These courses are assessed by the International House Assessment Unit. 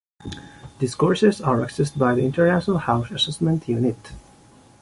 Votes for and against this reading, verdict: 2, 1, accepted